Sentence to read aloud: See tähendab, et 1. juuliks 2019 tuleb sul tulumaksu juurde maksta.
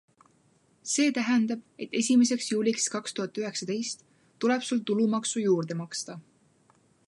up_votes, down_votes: 0, 2